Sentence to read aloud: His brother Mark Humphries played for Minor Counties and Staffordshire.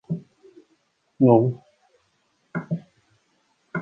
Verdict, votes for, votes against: rejected, 0, 2